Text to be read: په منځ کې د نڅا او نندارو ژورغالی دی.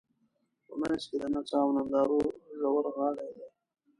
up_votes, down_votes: 2, 0